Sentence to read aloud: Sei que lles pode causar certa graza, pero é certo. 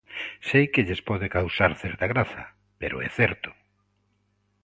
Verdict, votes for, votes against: accepted, 2, 0